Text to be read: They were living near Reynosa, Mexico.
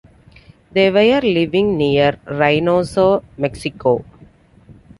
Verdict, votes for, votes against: accepted, 2, 1